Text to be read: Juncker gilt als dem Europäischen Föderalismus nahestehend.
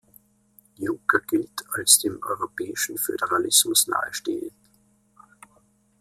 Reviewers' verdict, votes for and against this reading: rejected, 1, 2